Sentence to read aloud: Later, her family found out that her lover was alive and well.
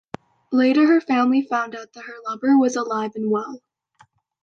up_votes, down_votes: 2, 0